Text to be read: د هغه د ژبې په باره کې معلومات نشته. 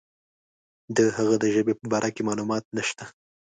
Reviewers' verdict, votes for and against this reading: accepted, 2, 0